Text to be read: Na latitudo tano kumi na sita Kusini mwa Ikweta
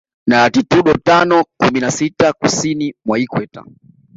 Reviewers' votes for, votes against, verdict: 0, 2, rejected